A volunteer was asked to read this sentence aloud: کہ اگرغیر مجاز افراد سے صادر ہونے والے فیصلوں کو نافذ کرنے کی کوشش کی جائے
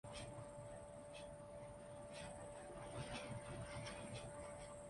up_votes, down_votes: 0, 2